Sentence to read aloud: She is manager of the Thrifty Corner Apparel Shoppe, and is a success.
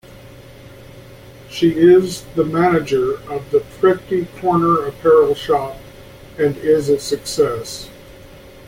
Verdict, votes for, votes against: rejected, 0, 2